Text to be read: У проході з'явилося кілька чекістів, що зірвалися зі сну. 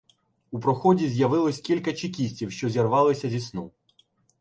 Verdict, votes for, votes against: rejected, 1, 2